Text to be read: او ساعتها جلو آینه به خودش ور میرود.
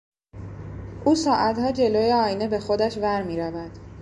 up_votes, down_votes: 2, 1